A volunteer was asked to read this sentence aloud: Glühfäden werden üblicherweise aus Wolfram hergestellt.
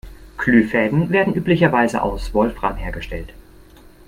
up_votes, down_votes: 1, 2